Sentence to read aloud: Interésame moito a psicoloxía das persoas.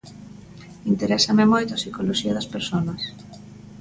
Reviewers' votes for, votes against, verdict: 1, 2, rejected